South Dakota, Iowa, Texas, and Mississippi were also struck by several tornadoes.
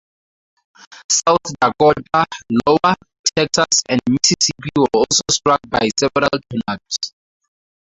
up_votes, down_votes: 0, 4